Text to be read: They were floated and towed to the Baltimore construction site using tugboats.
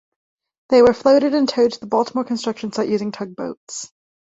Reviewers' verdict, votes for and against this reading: accepted, 2, 0